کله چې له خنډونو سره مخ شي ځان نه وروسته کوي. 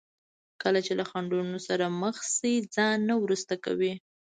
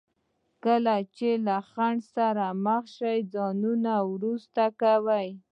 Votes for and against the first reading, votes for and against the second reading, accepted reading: 2, 0, 0, 2, first